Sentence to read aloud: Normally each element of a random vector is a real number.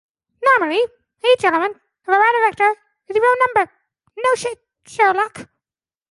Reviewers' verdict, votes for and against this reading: rejected, 0, 2